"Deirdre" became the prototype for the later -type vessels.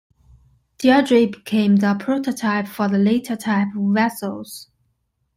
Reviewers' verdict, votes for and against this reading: accepted, 2, 1